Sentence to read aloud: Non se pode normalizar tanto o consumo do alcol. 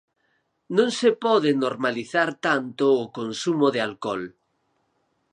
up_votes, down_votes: 2, 4